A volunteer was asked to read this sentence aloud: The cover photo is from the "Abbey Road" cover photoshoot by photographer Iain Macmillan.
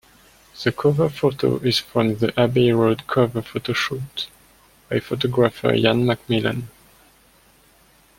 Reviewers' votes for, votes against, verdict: 1, 2, rejected